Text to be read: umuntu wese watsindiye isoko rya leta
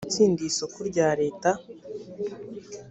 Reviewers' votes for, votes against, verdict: 1, 2, rejected